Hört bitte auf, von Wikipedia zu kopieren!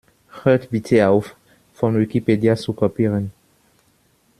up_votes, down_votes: 2, 0